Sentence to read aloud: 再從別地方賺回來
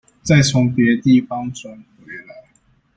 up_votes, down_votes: 0, 2